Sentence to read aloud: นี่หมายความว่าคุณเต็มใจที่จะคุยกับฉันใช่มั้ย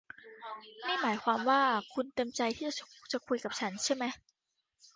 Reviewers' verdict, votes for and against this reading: rejected, 0, 2